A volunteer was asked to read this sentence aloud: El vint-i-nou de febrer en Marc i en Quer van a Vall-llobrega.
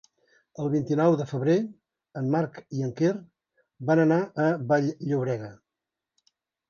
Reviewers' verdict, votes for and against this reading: rejected, 1, 2